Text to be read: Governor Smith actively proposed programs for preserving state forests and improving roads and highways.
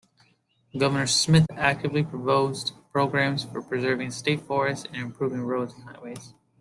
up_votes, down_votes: 2, 0